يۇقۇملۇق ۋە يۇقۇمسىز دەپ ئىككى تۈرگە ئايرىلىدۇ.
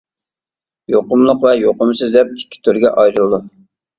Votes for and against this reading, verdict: 2, 0, accepted